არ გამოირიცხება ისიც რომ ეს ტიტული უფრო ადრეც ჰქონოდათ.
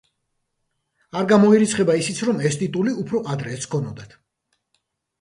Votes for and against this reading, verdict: 2, 0, accepted